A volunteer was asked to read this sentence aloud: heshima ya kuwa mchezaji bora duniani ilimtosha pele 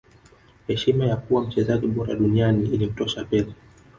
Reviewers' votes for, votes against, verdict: 0, 2, rejected